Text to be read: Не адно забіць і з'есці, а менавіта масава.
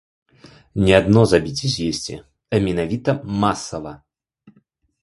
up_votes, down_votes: 2, 0